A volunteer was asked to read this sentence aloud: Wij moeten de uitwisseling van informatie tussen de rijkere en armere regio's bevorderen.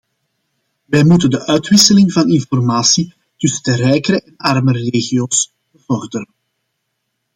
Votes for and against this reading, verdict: 0, 2, rejected